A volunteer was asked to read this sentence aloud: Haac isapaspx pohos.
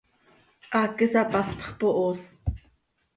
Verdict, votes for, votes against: accepted, 2, 0